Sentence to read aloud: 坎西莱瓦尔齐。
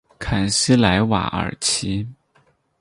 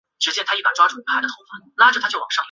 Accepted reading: first